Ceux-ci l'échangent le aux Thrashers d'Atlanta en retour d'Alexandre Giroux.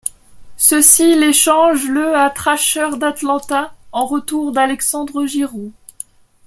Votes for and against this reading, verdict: 0, 2, rejected